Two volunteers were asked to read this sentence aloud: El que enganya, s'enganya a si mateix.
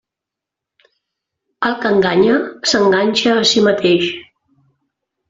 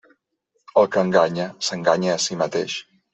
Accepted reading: second